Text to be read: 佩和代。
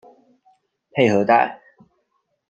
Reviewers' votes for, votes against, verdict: 2, 1, accepted